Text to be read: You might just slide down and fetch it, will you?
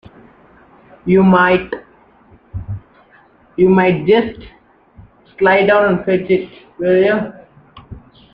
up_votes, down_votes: 0, 2